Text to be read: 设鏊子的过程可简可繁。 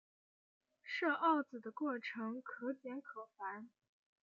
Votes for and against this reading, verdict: 2, 0, accepted